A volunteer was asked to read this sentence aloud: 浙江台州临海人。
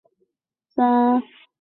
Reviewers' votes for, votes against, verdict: 0, 4, rejected